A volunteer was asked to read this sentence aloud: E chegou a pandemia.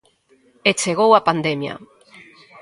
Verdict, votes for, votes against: accepted, 2, 0